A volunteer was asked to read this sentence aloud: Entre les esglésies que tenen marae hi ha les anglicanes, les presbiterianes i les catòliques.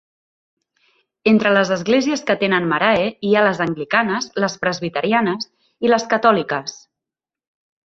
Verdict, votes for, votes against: accepted, 3, 0